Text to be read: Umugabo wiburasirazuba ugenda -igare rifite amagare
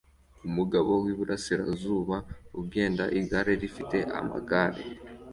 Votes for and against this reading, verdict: 2, 0, accepted